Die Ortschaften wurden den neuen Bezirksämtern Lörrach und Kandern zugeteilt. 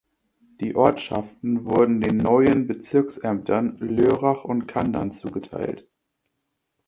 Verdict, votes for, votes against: accepted, 2, 0